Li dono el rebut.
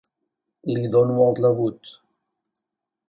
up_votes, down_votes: 3, 0